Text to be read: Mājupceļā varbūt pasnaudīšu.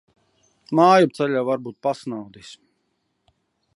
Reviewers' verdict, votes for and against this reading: rejected, 0, 2